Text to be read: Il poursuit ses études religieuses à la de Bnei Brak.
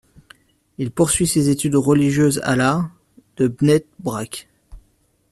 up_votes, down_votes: 0, 2